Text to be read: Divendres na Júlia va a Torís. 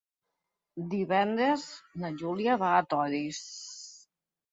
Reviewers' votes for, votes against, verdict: 1, 2, rejected